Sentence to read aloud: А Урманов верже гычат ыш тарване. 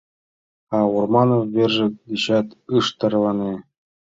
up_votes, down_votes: 1, 2